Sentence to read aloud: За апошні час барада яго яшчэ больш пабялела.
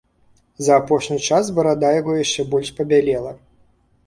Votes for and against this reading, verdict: 1, 2, rejected